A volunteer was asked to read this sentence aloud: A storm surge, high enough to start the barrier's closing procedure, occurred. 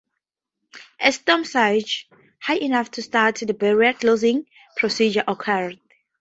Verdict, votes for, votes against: accepted, 4, 0